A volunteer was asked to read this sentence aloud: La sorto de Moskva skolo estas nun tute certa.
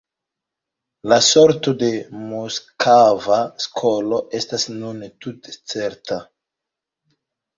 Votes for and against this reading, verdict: 0, 2, rejected